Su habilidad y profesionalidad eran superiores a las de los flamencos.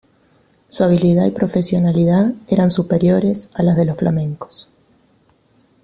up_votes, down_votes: 2, 0